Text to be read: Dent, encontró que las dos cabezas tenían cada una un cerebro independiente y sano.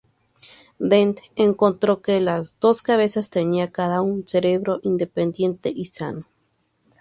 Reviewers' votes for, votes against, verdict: 2, 2, rejected